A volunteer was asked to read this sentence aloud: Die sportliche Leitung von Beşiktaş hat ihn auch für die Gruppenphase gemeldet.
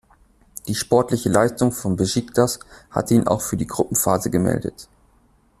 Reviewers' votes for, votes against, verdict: 0, 2, rejected